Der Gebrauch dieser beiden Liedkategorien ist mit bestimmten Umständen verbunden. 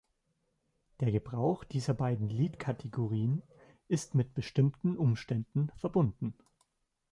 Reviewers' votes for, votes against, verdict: 2, 1, accepted